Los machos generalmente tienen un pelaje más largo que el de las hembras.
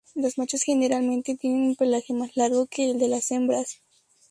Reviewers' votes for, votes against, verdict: 2, 0, accepted